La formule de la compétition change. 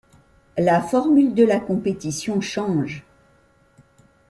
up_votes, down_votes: 2, 0